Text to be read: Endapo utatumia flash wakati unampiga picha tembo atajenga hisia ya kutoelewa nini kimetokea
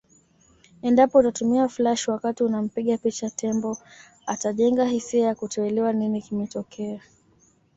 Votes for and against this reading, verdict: 2, 0, accepted